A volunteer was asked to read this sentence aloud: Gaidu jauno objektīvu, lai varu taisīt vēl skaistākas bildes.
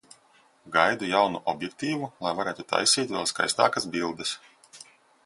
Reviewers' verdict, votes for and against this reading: rejected, 0, 2